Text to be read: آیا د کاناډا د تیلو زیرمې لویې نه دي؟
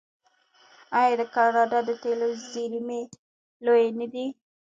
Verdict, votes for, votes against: rejected, 0, 2